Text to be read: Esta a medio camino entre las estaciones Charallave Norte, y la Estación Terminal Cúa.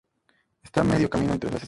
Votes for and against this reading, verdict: 0, 2, rejected